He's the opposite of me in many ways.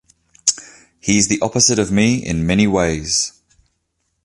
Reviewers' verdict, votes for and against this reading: accepted, 2, 0